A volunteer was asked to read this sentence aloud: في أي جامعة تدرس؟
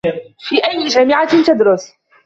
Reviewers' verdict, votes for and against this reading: accepted, 2, 1